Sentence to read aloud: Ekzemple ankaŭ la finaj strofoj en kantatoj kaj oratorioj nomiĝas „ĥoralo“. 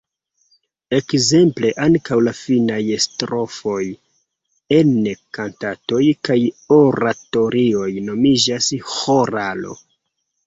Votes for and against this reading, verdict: 2, 0, accepted